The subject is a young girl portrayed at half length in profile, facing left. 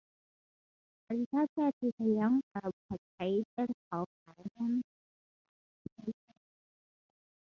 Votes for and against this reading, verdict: 0, 2, rejected